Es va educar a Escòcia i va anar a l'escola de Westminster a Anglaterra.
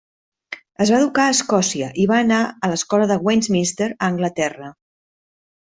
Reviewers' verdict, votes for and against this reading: accepted, 4, 2